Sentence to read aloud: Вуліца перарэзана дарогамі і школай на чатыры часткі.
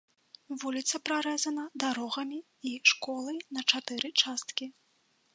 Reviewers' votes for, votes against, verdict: 1, 2, rejected